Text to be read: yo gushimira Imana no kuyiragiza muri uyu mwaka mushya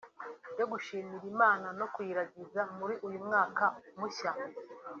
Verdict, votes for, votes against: accepted, 2, 0